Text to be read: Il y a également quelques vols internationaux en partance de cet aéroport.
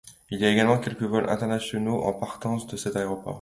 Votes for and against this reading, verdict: 2, 0, accepted